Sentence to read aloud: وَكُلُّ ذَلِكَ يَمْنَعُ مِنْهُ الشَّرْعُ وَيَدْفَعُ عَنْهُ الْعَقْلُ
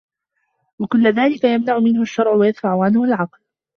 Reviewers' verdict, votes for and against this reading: accepted, 2, 0